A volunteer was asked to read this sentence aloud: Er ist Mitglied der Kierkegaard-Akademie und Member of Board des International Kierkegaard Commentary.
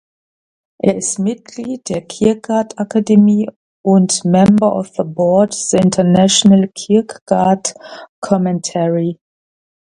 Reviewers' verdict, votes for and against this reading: rejected, 0, 2